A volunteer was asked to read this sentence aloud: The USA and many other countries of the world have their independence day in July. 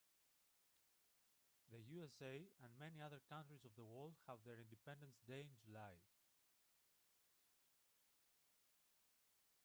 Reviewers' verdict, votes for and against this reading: rejected, 0, 4